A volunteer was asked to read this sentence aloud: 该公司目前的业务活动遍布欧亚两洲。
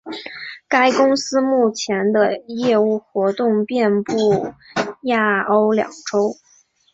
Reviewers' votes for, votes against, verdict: 0, 2, rejected